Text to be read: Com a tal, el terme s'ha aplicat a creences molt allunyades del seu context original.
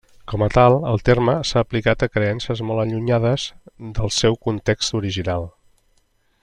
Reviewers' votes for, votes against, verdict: 3, 0, accepted